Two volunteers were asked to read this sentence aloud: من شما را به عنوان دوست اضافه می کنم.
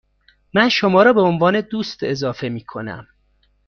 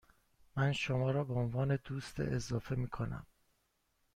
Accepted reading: first